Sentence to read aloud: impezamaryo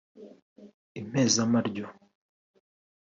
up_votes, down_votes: 2, 0